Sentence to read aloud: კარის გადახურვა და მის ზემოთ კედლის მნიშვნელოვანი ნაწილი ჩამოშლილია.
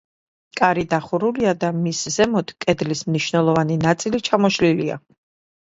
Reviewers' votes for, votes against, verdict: 0, 2, rejected